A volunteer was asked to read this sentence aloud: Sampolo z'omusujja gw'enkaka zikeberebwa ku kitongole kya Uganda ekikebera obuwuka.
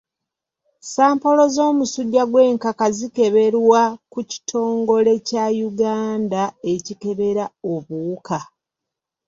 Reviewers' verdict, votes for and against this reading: accepted, 2, 0